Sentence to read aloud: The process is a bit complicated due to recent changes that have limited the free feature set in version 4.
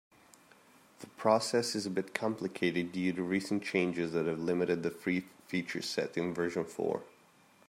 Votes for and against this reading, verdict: 0, 2, rejected